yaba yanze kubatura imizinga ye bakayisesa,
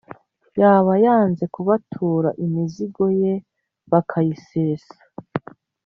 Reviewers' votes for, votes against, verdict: 1, 2, rejected